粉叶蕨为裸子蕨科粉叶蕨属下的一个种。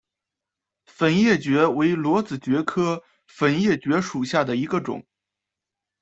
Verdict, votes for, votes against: accepted, 2, 0